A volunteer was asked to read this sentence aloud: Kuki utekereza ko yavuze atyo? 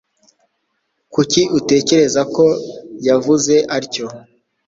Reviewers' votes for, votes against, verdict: 3, 0, accepted